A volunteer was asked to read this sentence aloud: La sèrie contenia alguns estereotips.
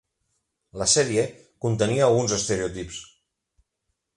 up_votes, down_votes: 0, 2